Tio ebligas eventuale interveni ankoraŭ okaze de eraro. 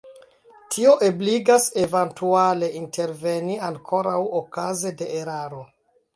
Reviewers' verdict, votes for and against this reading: accepted, 2, 1